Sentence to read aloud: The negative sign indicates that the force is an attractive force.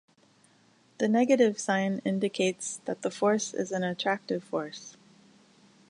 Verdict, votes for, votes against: accepted, 2, 0